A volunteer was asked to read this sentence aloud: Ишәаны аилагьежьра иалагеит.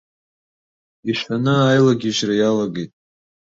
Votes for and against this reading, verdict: 2, 0, accepted